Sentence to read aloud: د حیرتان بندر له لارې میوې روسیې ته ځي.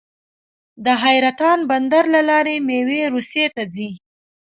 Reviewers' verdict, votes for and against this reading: accepted, 2, 0